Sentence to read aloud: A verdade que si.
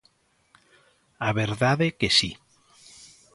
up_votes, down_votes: 2, 0